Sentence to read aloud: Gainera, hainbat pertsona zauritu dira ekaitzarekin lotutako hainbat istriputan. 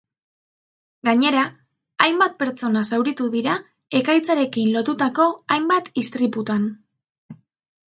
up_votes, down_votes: 2, 0